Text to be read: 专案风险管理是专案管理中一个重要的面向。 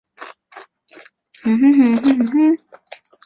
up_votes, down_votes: 0, 2